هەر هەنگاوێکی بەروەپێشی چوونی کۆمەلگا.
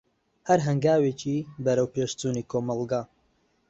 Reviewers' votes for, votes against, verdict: 0, 2, rejected